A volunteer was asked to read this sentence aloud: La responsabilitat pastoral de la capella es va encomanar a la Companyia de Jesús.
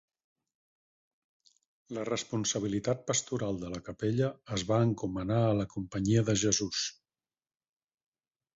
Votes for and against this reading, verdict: 4, 0, accepted